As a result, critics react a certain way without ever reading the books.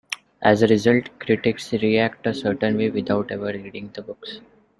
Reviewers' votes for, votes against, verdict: 2, 1, accepted